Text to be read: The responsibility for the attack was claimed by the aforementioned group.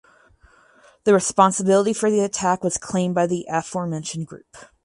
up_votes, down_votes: 2, 2